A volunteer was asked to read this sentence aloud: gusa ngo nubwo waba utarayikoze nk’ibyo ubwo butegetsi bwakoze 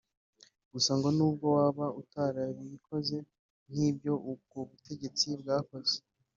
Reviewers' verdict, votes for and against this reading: accepted, 2, 0